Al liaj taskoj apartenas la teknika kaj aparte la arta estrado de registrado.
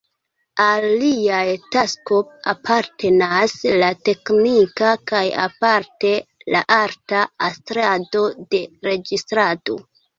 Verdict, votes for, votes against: rejected, 1, 2